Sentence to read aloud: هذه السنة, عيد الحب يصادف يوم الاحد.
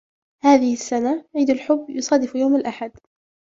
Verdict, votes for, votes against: accepted, 2, 1